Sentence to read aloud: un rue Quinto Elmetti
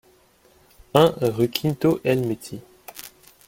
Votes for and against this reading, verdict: 2, 1, accepted